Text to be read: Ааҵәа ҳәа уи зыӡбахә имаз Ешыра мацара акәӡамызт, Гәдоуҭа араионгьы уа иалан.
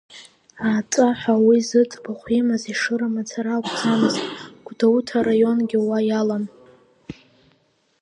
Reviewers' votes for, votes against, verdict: 2, 1, accepted